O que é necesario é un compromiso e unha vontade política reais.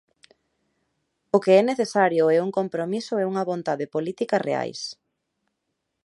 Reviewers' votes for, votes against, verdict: 2, 0, accepted